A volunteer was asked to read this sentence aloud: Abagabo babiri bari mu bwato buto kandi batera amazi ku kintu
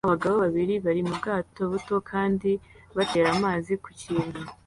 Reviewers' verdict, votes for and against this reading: accepted, 2, 0